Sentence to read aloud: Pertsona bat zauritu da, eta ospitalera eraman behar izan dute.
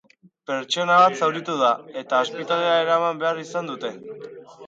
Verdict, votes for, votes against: rejected, 2, 2